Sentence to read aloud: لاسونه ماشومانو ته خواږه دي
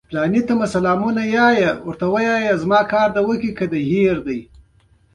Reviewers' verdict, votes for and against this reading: rejected, 0, 2